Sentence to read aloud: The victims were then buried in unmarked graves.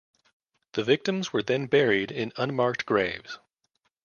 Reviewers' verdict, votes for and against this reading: accepted, 2, 0